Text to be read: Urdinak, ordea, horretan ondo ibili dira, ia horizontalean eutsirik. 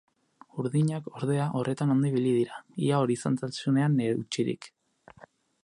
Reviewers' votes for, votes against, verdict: 0, 8, rejected